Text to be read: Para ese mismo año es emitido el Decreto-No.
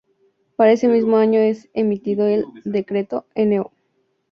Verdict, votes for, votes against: accepted, 6, 0